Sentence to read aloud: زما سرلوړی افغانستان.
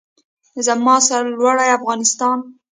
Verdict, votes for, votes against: rejected, 1, 2